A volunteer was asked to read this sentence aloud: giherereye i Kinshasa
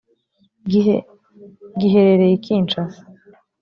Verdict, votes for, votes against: rejected, 0, 2